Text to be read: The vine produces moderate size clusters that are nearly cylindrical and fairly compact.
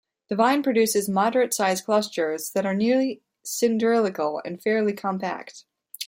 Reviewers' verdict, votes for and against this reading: rejected, 0, 2